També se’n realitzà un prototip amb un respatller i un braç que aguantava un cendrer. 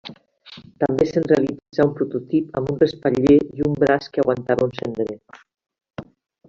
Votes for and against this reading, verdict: 1, 2, rejected